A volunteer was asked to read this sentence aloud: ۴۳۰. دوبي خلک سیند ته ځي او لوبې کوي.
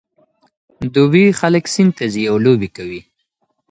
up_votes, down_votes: 0, 2